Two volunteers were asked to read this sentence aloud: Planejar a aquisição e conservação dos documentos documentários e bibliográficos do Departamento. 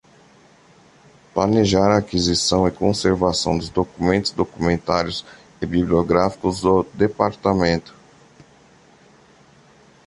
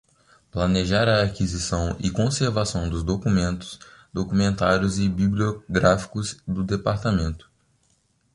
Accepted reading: first